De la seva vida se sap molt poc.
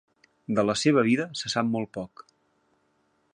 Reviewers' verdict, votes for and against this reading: accepted, 2, 0